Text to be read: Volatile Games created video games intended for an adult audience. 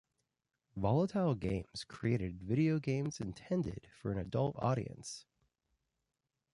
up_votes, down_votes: 2, 0